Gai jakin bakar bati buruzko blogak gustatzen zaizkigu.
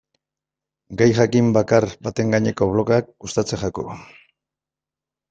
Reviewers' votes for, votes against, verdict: 0, 2, rejected